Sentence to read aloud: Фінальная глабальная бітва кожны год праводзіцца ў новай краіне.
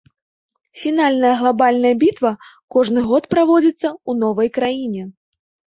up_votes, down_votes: 3, 0